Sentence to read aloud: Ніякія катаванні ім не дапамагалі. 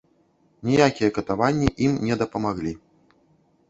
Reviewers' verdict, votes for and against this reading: rejected, 0, 2